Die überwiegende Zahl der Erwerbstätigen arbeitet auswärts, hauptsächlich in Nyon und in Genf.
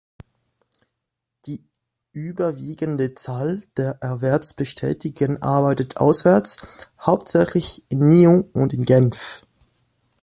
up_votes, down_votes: 1, 2